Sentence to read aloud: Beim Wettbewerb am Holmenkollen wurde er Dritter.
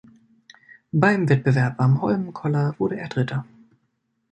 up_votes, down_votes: 1, 2